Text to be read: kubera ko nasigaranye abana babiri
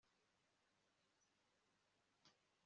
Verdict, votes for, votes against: accepted, 2, 1